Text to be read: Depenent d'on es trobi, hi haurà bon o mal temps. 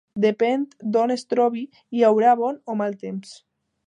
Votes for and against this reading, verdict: 1, 2, rejected